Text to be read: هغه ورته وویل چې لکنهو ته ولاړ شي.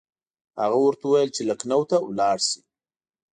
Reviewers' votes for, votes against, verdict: 3, 0, accepted